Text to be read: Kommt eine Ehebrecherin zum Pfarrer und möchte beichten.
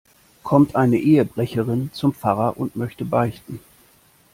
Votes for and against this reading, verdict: 2, 0, accepted